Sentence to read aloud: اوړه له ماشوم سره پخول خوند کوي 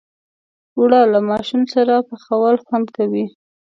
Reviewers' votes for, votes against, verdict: 2, 0, accepted